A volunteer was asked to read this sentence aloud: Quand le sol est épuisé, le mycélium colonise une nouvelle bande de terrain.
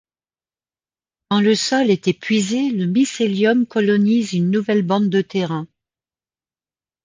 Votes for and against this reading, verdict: 2, 0, accepted